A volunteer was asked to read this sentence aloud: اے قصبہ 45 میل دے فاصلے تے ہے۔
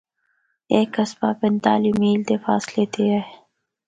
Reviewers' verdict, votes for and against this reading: rejected, 0, 2